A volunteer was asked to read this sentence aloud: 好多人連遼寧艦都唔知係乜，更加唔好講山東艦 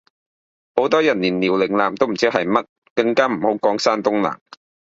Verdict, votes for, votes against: rejected, 1, 2